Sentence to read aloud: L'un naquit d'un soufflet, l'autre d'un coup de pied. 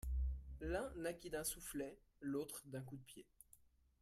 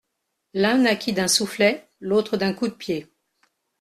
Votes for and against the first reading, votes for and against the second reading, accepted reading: 1, 2, 2, 0, second